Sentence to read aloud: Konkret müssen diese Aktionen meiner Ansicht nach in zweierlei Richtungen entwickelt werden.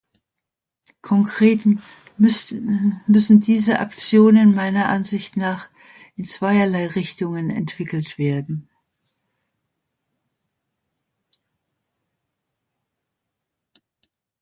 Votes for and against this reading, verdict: 0, 2, rejected